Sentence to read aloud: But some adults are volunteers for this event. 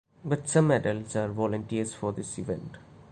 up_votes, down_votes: 2, 0